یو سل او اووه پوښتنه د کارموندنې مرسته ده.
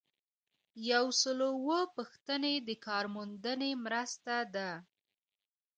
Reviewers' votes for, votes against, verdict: 2, 1, accepted